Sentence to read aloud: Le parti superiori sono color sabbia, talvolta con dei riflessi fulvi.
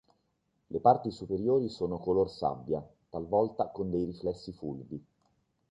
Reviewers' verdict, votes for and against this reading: accepted, 3, 0